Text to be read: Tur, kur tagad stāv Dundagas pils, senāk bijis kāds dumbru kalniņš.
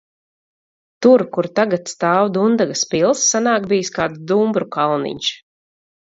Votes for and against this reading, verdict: 4, 0, accepted